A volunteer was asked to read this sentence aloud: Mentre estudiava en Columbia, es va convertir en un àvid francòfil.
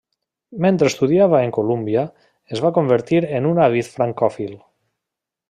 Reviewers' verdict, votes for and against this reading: rejected, 1, 2